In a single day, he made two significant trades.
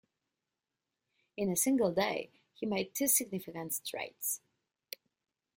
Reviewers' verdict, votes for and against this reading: rejected, 1, 2